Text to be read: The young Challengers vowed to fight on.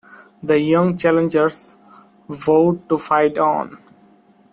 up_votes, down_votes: 0, 2